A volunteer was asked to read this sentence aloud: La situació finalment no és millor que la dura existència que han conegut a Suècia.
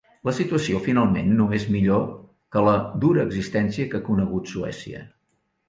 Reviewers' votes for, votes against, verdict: 0, 3, rejected